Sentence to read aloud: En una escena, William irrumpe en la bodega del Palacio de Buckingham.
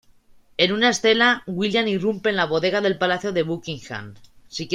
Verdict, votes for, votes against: accepted, 2, 0